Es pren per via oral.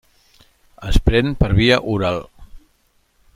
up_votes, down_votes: 3, 1